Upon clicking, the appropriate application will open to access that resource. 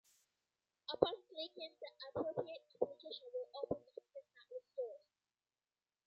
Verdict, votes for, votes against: rejected, 0, 2